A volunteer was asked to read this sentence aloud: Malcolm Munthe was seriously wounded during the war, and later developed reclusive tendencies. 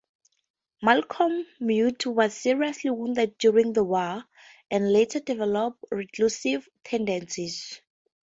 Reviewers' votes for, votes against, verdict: 4, 0, accepted